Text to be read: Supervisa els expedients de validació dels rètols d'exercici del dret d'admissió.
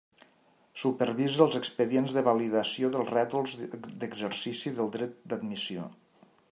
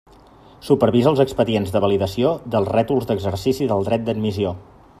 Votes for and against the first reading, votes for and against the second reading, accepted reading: 0, 2, 3, 0, second